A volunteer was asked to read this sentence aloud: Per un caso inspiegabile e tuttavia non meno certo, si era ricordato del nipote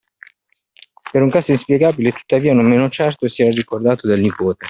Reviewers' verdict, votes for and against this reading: accepted, 2, 1